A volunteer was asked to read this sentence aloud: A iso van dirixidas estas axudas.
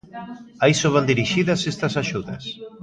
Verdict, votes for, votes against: accepted, 2, 0